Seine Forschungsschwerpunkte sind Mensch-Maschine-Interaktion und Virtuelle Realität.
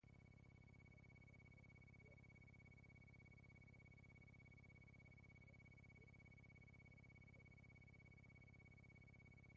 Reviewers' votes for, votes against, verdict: 0, 2, rejected